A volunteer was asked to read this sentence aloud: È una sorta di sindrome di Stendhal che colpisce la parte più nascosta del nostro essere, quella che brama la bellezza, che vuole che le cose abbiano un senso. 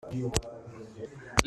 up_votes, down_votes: 0, 2